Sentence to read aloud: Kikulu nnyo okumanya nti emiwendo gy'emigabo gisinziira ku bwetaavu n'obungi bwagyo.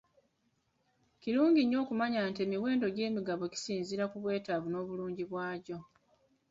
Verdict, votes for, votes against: rejected, 0, 2